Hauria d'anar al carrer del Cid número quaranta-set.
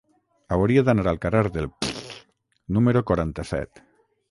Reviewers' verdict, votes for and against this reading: rejected, 0, 6